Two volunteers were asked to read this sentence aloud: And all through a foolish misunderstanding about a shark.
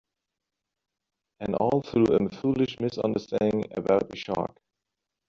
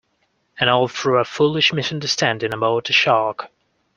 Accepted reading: second